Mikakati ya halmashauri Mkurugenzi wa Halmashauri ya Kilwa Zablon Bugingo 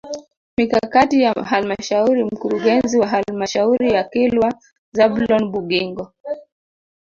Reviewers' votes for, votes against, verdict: 2, 0, accepted